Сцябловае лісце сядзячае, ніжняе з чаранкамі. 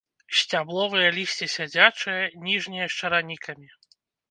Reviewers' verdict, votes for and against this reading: rejected, 0, 3